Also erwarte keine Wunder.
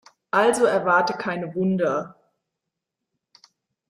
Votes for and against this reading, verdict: 2, 0, accepted